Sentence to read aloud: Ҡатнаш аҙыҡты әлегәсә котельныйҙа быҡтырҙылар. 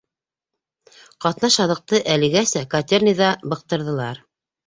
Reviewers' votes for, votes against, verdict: 2, 0, accepted